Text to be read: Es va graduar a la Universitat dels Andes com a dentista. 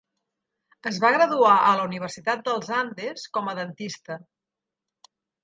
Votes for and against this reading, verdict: 3, 0, accepted